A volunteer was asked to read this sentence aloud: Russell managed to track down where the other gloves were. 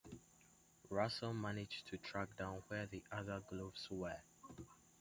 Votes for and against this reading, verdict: 2, 0, accepted